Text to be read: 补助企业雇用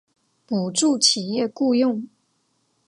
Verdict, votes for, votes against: accepted, 2, 0